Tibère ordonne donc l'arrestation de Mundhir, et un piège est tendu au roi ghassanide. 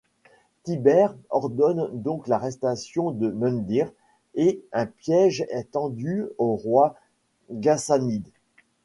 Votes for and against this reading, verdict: 0, 2, rejected